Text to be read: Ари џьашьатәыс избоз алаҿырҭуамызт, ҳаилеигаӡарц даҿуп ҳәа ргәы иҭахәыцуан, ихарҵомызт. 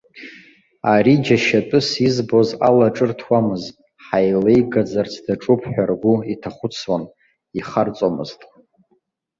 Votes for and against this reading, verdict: 2, 0, accepted